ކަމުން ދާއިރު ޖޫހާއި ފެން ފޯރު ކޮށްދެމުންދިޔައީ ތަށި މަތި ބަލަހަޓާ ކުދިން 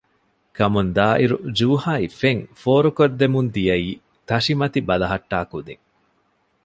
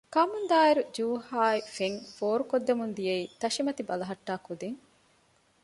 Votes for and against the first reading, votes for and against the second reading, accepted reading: 1, 2, 2, 0, second